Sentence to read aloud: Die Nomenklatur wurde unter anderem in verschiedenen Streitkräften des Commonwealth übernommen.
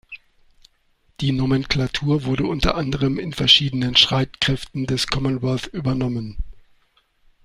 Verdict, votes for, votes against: rejected, 1, 2